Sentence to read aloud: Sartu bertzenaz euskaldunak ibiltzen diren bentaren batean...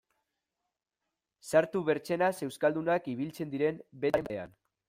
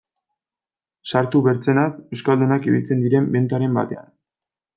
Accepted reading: second